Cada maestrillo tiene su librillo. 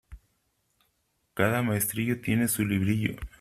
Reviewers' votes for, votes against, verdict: 2, 0, accepted